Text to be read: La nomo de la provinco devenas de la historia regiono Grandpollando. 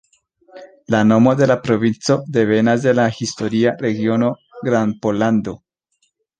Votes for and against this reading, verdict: 2, 0, accepted